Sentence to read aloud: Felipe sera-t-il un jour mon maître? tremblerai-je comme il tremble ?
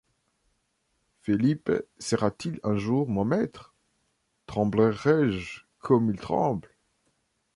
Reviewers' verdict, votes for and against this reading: accepted, 2, 0